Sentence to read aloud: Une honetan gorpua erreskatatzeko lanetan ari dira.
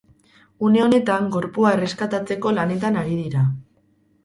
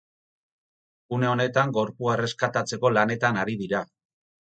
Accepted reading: second